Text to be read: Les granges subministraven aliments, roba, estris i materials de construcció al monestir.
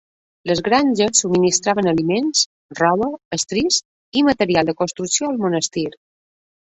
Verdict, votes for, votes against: rejected, 1, 2